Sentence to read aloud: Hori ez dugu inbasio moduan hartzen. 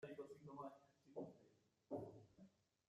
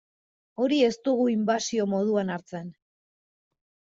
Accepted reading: second